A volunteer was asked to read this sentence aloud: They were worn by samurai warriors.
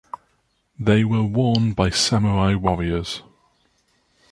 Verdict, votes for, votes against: rejected, 0, 2